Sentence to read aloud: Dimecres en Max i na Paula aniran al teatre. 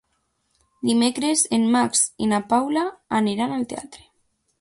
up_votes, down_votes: 2, 0